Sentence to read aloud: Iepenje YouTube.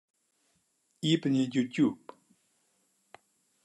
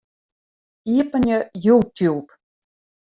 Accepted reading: second